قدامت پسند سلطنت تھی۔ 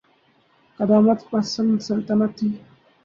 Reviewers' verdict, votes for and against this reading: rejected, 0, 2